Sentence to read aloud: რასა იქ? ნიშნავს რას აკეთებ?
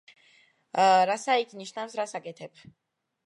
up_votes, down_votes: 2, 0